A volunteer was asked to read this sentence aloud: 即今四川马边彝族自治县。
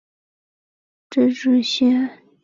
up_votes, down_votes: 0, 2